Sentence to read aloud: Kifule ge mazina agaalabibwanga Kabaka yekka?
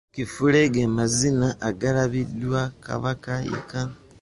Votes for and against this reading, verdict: 0, 2, rejected